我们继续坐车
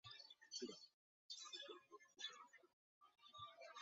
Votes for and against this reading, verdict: 0, 3, rejected